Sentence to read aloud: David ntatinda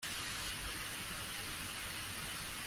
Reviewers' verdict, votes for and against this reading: rejected, 0, 2